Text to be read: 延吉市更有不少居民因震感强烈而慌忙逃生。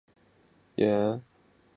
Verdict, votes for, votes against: rejected, 0, 3